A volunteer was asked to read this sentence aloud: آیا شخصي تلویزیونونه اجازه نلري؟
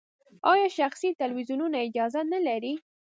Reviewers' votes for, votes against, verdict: 0, 2, rejected